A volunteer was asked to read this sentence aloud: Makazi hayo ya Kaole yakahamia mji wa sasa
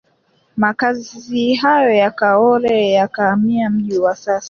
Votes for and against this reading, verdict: 3, 1, accepted